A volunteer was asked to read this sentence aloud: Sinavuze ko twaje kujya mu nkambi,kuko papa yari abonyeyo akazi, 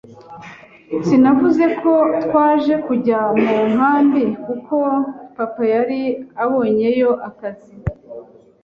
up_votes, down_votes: 3, 0